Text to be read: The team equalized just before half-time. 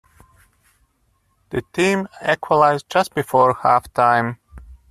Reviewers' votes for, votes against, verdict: 2, 0, accepted